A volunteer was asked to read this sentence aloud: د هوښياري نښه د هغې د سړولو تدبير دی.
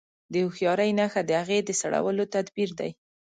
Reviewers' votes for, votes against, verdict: 2, 0, accepted